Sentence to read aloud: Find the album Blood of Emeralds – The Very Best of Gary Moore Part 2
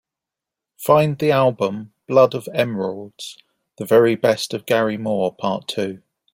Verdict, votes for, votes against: rejected, 0, 2